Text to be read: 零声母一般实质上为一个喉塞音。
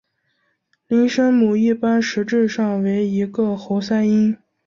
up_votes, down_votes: 2, 0